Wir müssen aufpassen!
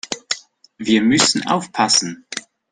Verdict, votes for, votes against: accepted, 2, 0